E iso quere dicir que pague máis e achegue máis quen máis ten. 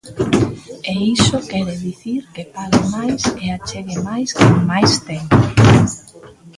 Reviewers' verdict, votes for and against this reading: rejected, 0, 2